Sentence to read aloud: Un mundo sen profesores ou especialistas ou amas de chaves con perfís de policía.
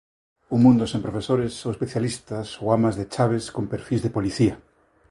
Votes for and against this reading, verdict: 2, 0, accepted